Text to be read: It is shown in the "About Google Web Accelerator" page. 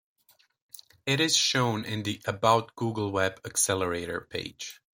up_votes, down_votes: 2, 0